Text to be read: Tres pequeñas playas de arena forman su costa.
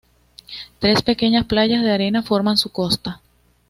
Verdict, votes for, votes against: accepted, 2, 0